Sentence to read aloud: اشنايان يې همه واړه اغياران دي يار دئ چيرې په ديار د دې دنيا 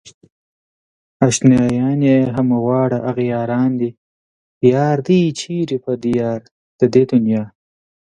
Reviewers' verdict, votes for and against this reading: accepted, 2, 0